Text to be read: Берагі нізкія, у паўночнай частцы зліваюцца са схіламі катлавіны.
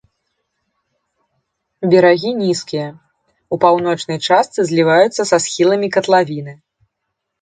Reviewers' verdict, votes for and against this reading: accepted, 2, 0